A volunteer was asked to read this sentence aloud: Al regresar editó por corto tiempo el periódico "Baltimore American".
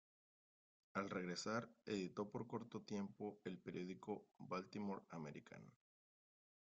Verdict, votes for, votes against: rejected, 1, 2